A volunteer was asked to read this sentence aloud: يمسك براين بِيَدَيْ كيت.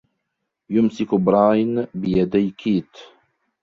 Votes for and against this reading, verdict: 2, 1, accepted